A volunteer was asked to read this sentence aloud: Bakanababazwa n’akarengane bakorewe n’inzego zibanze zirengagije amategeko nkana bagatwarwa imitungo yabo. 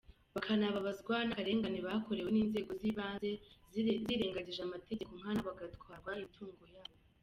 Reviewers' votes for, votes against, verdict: 2, 0, accepted